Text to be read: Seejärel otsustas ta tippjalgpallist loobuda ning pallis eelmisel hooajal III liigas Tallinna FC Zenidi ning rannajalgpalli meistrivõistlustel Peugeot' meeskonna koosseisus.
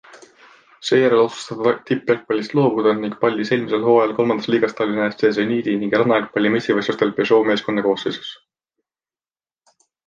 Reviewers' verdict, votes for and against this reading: accepted, 2, 0